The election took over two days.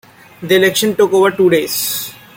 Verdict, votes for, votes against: accepted, 2, 0